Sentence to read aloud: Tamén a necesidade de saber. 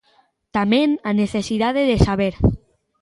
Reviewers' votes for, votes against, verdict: 2, 0, accepted